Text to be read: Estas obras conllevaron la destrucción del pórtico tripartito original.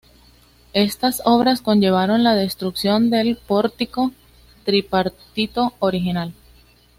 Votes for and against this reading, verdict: 2, 0, accepted